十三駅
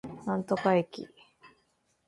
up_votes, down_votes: 0, 2